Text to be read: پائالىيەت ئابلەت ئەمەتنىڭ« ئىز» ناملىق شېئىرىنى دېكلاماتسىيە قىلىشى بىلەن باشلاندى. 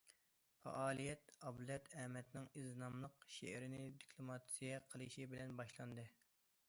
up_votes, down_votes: 2, 0